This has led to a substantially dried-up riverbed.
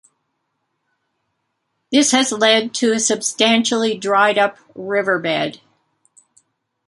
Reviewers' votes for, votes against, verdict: 2, 0, accepted